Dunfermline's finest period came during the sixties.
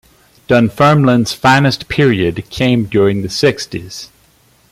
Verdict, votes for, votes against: accepted, 2, 1